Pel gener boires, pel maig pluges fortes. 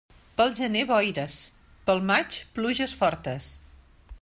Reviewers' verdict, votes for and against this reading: accepted, 3, 0